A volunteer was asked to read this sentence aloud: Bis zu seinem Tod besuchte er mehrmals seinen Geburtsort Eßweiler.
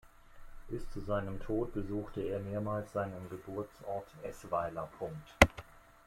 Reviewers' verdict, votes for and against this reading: rejected, 1, 2